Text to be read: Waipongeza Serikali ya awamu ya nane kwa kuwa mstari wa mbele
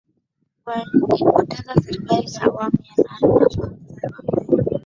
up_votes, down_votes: 0, 2